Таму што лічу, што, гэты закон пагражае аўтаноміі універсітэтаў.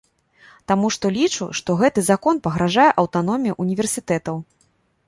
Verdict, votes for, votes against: rejected, 1, 2